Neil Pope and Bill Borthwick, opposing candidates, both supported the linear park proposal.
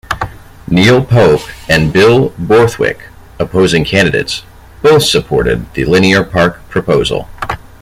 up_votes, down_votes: 2, 0